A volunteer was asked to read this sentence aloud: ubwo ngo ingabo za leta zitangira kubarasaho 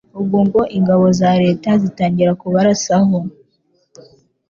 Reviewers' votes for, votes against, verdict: 2, 0, accepted